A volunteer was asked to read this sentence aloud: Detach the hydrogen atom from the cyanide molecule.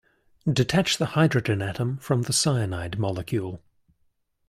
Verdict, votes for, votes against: accepted, 2, 0